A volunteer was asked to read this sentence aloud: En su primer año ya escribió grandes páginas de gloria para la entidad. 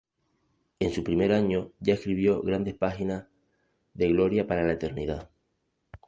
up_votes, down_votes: 0, 2